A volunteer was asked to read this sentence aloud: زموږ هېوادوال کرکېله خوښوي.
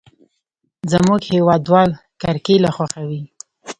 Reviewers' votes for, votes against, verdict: 2, 0, accepted